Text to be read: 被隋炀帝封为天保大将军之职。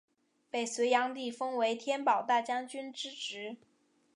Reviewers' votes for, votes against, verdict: 4, 0, accepted